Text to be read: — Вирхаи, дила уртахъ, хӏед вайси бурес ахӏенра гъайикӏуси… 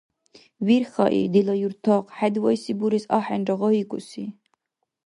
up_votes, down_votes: 1, 2